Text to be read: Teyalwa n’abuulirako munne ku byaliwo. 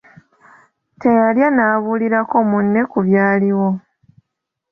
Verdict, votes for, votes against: rejected, 1, 3